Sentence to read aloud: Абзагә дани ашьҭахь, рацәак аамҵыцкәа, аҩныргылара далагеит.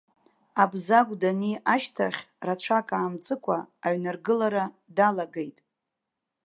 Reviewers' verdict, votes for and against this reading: accepted, 2, 0